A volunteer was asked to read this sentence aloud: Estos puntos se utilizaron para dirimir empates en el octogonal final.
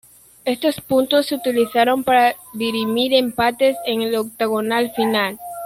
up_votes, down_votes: 1, 2